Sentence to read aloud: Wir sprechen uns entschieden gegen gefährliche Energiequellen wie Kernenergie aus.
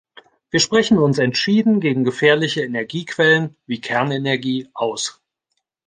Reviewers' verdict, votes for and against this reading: accepted, 2, 0